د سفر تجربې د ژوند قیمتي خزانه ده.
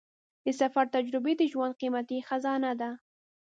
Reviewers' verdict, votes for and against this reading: accepted, 3, 0